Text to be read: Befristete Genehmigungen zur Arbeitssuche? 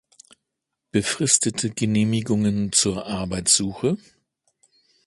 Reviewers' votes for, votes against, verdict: 2, 0, accepted